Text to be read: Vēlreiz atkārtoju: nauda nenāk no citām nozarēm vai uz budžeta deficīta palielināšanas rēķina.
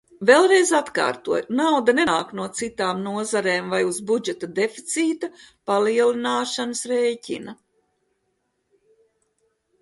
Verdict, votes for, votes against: accepted, 2, 0